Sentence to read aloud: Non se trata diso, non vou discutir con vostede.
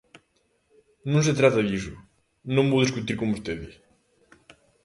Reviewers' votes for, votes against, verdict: 2, 0, accepted